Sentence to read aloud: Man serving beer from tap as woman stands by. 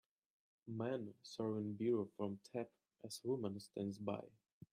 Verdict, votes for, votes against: accepted, 2, 0